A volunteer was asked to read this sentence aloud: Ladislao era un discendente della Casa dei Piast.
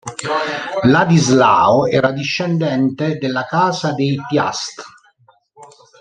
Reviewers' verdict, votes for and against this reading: rejected, 0, 2